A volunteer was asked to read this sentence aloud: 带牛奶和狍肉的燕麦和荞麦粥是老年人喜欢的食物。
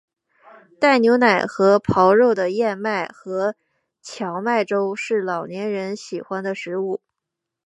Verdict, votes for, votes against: accepted, 2, 0